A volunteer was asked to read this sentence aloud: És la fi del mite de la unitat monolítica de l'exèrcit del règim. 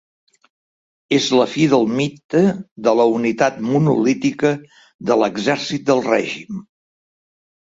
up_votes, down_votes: 2, 0